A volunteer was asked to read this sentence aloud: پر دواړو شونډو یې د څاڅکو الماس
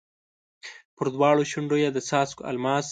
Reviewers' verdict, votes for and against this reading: accepted, 2, 0